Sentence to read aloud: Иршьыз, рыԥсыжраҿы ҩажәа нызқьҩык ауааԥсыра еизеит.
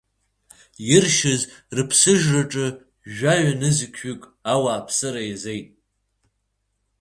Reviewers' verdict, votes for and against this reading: rejected, 1, 2